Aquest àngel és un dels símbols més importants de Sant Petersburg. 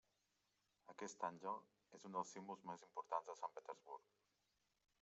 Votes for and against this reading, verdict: 2, 1, accepted